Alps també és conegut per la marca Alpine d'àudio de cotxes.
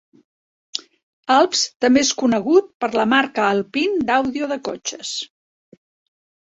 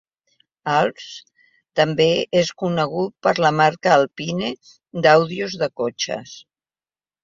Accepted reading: first